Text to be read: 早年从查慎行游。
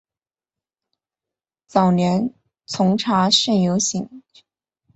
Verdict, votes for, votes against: rejected, 1, 2